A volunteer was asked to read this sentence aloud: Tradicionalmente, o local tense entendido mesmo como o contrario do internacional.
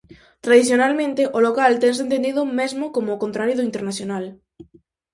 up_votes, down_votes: 4, 0